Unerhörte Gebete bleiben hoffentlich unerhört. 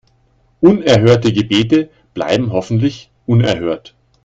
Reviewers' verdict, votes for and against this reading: accepted, 2, 0